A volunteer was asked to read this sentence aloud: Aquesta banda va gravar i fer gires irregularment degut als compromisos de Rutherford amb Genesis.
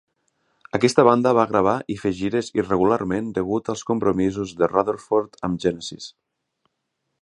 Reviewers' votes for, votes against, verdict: 4, 0, accepted